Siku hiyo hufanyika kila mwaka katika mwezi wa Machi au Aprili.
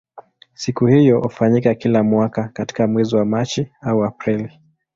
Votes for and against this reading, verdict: 2, 0, accepted